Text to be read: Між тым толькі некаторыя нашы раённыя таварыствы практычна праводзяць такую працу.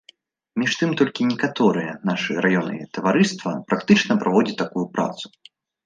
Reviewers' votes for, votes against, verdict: 0, 2, rejected